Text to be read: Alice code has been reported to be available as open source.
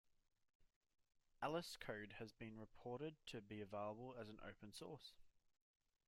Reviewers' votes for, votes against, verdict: 0, 2, rejected